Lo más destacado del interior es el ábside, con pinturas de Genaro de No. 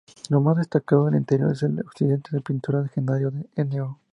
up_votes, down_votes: 0, 4